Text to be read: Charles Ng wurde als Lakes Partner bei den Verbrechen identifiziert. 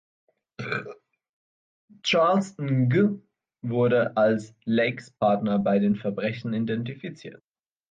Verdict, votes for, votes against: rejected, 1, 2